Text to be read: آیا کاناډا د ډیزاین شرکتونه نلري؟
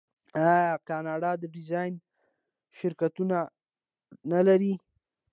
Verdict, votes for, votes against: accepted, 2, 0